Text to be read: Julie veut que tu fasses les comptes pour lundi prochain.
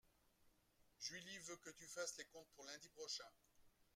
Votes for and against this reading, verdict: 0, 2, rejected